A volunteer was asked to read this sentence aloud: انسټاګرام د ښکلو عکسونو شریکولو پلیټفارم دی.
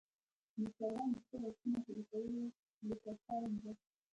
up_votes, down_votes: 0, 2